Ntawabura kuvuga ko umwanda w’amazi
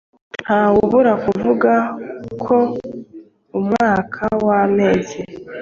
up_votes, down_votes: 1, 2